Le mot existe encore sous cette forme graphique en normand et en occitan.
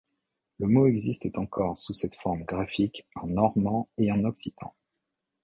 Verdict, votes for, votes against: accepted, 3, 0